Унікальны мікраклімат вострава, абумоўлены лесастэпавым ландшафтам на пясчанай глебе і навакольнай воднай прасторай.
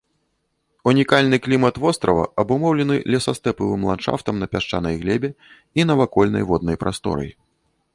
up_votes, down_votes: 0, 2